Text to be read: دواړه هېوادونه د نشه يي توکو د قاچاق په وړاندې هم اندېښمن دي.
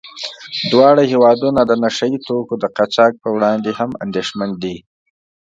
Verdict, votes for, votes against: accepted, 2, 0